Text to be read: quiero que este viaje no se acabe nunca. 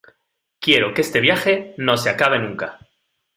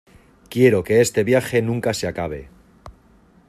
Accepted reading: first